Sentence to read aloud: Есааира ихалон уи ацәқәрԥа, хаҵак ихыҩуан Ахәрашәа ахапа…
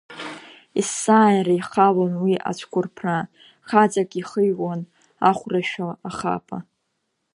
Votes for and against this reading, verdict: 1, 2, rejected